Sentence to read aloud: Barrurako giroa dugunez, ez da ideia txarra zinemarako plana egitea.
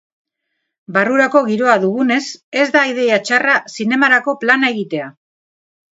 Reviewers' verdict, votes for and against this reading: rejected, 2, 2